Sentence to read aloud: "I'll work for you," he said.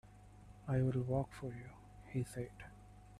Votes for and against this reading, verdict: 2, 1, accepted